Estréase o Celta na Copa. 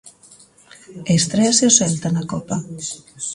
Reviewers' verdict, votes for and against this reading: accepted, 2, 0